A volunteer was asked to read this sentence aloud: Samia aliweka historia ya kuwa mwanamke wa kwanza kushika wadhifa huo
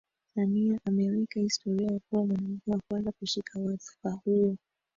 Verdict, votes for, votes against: accepted, 2, 1